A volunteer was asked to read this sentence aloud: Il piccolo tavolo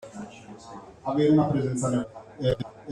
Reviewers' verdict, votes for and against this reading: rejected, 0, 2